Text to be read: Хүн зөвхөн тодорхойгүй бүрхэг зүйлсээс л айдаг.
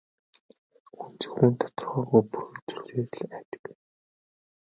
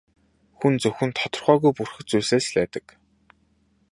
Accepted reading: second